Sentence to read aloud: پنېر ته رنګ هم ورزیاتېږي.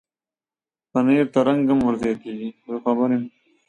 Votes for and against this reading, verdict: 1, 2, rejected